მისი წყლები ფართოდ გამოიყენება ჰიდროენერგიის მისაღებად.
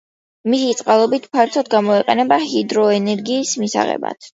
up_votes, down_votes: 0, 2